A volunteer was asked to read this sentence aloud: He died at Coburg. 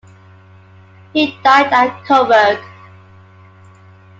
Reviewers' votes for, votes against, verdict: 2, 1, accepted